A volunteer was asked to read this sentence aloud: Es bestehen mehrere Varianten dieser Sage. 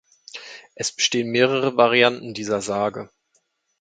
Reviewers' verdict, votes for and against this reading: accepted, 2, 0